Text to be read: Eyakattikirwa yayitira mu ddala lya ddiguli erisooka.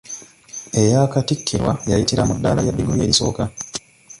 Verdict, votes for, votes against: rejected, 1, 2